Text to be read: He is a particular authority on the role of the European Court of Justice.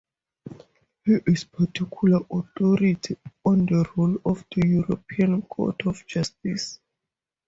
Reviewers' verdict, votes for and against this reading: accepted, 2, 0